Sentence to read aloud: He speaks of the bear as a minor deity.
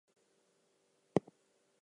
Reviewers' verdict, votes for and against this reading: rejected, 0, 2